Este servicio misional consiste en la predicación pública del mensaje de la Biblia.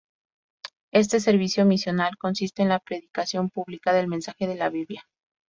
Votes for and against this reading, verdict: 2, 0, accepted